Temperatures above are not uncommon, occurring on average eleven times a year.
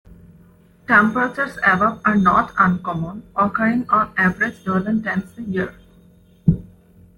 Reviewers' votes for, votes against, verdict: 2, 0, accepted